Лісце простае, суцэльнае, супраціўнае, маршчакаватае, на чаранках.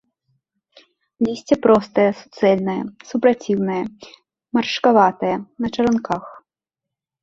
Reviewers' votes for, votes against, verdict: 1, 2, rejected